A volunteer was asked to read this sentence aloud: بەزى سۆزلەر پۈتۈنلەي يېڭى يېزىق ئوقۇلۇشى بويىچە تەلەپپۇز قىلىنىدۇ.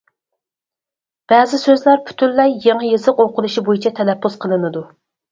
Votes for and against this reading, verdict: 4, 0, accepted